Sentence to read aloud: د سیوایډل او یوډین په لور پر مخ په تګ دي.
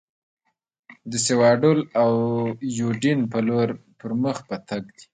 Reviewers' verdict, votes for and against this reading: rejected, 1, 2